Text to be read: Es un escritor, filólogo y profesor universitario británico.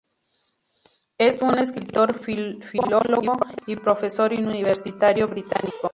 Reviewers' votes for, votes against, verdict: 0, 2, rejected